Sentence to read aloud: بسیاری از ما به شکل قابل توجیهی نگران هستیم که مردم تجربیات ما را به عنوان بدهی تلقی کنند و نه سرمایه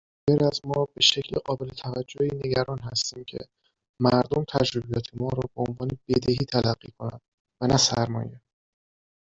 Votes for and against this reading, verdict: 1, 2, rejected